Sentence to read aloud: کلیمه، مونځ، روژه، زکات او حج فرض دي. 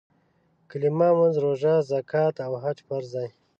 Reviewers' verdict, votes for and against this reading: rejected, 0, 2